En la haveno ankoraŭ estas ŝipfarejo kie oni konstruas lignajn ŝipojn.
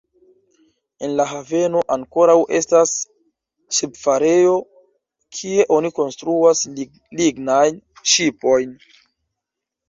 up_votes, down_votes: 0, 2